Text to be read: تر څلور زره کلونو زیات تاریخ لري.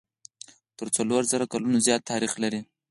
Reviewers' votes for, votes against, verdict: 2, 4, rejected